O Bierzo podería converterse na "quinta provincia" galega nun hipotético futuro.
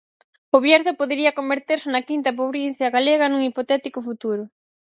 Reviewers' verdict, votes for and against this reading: rejected, 0, 4